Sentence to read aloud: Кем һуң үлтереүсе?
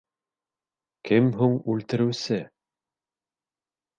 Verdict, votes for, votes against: accepted, 2, 0